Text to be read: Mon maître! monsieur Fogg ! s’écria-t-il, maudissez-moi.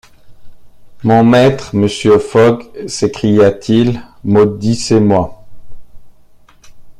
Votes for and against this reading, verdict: 1, 2, rejected